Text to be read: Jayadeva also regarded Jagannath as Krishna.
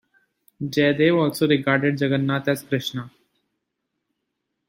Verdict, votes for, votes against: accepted, 2, 1